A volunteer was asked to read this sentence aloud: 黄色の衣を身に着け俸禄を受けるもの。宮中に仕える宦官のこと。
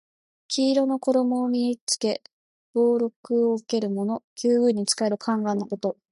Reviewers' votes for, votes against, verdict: 2, 0, accepted